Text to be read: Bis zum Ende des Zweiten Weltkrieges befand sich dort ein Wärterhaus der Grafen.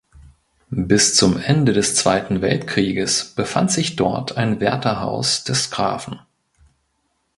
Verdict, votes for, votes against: rejected, 0, 2